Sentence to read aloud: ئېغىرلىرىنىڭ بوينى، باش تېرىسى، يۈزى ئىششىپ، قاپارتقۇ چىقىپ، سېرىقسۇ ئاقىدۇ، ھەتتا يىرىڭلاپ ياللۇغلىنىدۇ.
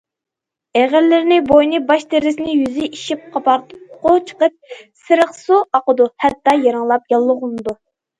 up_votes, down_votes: 0, 2